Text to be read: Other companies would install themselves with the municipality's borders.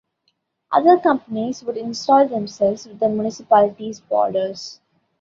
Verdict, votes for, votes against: accepted, 2, 0